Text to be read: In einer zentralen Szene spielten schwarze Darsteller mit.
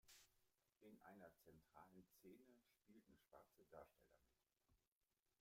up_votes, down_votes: 0, 2